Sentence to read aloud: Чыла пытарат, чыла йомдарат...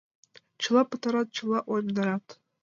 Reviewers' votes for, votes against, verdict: 1, 2, rejected